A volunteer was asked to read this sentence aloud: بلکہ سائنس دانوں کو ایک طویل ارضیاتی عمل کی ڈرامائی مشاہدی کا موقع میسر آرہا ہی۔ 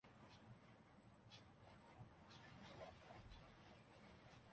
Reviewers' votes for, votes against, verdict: 0, 3, rejected